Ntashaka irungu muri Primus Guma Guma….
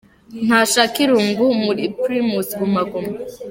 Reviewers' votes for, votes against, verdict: 2, 0, accepted